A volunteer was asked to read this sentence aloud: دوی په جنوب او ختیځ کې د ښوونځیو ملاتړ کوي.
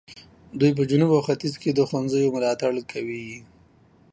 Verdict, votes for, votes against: accepted, 2, 0